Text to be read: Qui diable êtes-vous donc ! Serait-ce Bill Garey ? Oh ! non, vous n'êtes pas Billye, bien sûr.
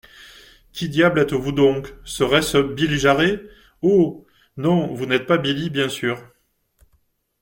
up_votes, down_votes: 0, 2